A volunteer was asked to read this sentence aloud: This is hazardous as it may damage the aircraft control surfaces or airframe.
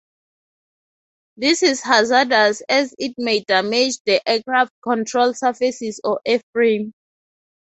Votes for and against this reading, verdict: 2, 0, accepted